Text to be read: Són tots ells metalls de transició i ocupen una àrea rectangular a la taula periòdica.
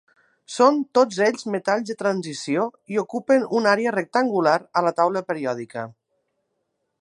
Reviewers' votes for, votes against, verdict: 2, 0, accepted